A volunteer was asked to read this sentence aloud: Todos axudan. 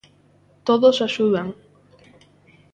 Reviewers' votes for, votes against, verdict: 2, 0, accepted